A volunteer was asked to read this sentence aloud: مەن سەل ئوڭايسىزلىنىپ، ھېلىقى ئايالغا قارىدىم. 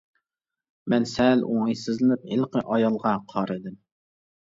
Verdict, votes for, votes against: accepted, 2, 0